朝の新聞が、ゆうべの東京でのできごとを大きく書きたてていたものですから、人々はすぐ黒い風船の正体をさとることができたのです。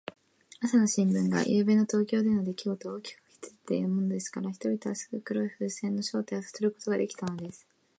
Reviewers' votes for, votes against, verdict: 0, 2, rejected